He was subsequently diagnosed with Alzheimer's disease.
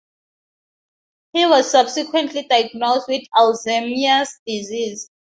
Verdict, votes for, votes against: accepted, 2, 0